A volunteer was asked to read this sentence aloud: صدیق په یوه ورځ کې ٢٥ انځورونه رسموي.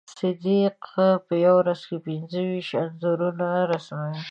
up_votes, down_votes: 0, 2